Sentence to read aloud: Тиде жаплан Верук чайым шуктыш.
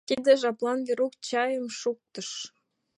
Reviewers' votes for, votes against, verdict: 2, 0, accepted